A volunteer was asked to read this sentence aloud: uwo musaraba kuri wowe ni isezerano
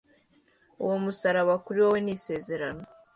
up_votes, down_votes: 2, 1